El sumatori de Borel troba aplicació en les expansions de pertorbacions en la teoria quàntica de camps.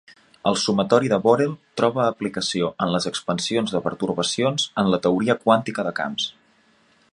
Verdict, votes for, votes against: accepted, 2, 0